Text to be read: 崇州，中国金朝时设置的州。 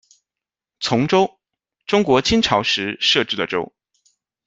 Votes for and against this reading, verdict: 2, 0, accepted